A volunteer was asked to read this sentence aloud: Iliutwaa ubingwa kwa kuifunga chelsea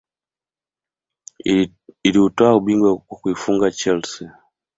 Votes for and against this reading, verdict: 2, 1, accepted